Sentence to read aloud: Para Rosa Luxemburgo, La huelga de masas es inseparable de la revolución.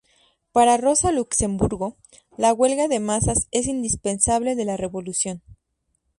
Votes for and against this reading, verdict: 2, 2, rejected